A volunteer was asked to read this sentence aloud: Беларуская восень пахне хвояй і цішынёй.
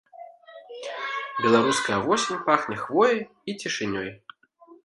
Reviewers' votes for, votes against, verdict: 3, 0, accepted